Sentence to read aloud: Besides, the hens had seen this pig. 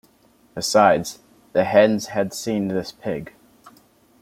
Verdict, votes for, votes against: rejected, 1, 2